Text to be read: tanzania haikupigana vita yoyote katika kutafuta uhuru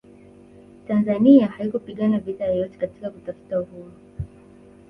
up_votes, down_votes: 2, 3